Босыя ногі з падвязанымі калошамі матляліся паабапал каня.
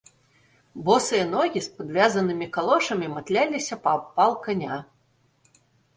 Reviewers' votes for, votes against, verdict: 1, 2, rejected